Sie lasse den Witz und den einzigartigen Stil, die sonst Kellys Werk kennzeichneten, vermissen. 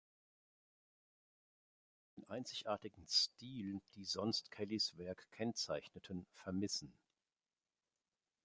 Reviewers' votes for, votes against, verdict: 0, 2, rejected